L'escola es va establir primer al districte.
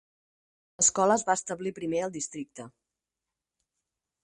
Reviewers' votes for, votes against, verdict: 4, 0, accepted